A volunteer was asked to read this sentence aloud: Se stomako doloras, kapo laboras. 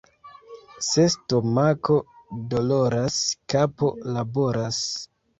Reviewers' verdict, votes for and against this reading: rejected, 0, 2